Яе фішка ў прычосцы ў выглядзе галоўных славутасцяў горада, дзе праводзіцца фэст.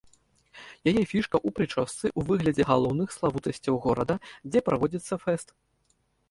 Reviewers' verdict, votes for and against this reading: rejected, 1, 2